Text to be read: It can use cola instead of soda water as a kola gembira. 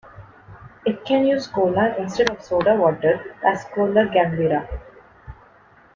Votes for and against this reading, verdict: 1, 2, rejected